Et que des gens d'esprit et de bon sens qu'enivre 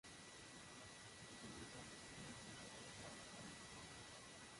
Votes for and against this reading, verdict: 0, 2, rejected